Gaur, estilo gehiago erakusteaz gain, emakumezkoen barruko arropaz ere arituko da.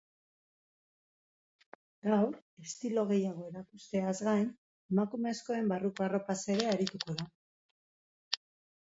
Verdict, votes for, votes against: accepted, 2, 0